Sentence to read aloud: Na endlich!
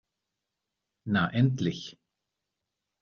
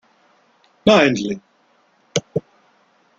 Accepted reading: first